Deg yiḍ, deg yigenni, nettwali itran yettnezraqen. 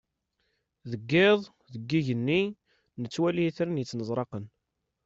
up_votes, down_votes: 2, 0